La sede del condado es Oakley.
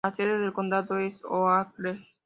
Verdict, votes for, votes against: accepted, 2, 0